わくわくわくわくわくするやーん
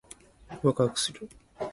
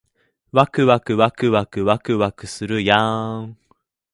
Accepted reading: second